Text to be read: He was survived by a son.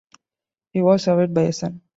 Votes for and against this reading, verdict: 2, 0, accepted